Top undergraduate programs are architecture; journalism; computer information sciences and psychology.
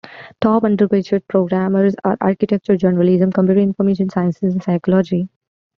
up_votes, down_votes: 1, 2